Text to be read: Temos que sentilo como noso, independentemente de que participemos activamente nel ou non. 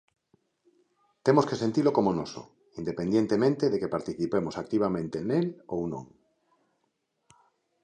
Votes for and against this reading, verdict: 1, 2, rejected